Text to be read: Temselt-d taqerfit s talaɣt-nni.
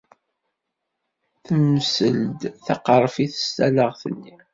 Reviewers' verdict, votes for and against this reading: rejected, 1, 2